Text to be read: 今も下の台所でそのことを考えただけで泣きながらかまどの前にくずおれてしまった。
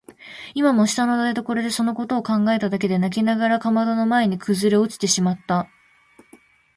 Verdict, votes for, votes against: rejected, 2, 2